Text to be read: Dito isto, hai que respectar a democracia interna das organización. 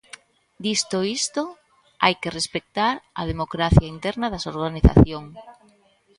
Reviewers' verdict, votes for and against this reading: rejected, 0, 3